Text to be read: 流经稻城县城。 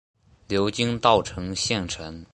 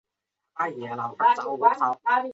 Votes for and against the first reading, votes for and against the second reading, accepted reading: 3, 1, 2, 3, first